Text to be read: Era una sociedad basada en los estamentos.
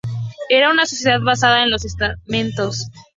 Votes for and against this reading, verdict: 0, 2, rejected